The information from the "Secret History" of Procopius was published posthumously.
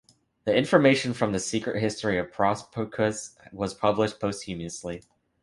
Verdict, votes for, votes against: rejected, 1, 2